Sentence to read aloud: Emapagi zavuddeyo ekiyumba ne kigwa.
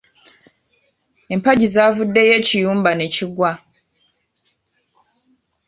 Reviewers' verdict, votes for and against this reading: rejected, 1, 2